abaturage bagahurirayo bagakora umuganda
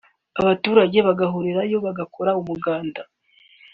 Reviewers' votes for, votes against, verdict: 2, 1, accepted